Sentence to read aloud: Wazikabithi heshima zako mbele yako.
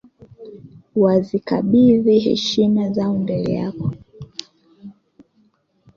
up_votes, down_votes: 2, 1